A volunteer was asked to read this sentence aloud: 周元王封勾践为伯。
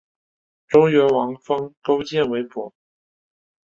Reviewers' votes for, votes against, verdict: 5, 0, accepted